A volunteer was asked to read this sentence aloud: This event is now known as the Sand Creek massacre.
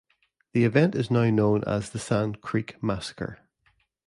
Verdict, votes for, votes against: rejected, 0, 2